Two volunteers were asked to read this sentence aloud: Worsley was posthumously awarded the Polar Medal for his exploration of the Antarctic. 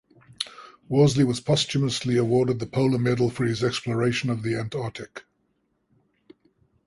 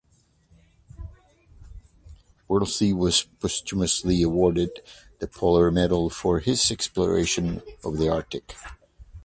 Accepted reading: first